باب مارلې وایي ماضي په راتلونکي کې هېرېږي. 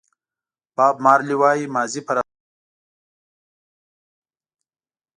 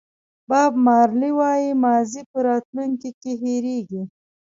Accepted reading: second